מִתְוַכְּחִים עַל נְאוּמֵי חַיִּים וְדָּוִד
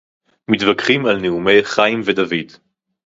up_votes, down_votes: 2, 2